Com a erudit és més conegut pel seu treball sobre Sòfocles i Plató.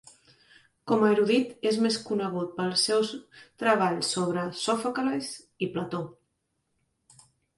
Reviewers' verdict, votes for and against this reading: rejected, 0, 2